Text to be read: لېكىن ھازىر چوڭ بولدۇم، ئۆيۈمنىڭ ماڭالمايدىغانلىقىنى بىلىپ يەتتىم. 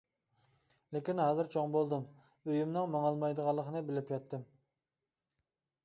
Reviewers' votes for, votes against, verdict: 2, 0, accepted